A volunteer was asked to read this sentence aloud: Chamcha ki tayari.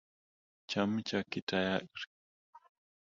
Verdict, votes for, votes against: rejected, 0, 2